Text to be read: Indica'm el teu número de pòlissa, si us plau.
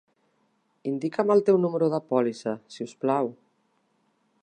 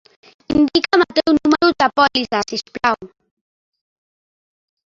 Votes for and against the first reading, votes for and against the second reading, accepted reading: 3, 0, 0, 2, first